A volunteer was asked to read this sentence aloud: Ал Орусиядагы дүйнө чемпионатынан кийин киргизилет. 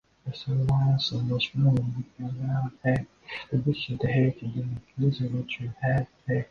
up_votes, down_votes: 0, 2